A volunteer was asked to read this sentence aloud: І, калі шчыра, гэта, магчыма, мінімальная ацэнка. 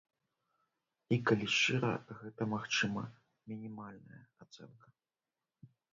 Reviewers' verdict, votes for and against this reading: rejected, 0, 3